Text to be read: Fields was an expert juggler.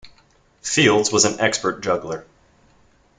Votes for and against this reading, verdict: 2, 0, accepted